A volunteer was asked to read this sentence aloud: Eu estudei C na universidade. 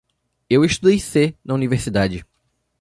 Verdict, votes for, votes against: accepted, 2, 0